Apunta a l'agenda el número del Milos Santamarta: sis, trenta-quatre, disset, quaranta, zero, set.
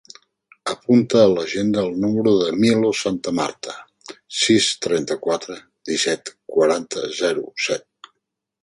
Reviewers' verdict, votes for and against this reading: accepted, 2, 0